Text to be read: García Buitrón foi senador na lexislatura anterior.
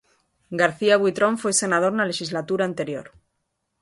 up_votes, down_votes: 2, 0